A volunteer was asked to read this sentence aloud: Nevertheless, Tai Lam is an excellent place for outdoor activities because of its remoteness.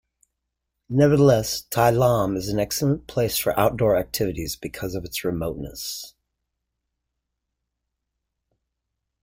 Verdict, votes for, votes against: accepted, 2, 0